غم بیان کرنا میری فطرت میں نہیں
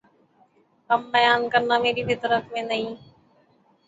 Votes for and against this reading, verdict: 12, 3, accepted